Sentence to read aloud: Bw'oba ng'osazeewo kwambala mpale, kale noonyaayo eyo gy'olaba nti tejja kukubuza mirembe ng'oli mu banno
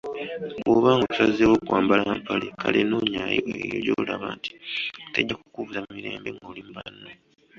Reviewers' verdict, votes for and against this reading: rejected, 1, 2